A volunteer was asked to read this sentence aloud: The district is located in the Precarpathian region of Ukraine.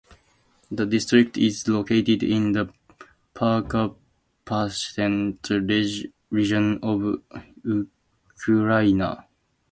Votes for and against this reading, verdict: 0, 2, rejected